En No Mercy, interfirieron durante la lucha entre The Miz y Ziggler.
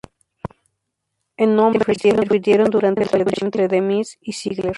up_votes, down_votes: 2, 0